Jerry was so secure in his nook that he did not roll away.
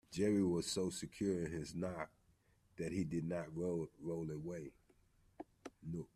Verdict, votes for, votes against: rejected, 0, 2